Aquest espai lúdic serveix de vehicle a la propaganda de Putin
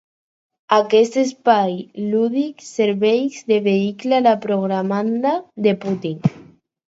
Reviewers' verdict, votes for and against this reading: rejected, 2, 4